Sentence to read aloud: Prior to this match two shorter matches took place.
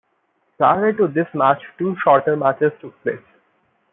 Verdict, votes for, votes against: accepted, 2, 0